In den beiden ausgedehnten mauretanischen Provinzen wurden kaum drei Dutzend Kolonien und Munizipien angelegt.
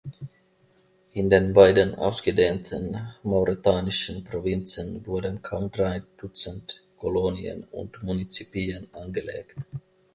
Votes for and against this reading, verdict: 2, 1, accepted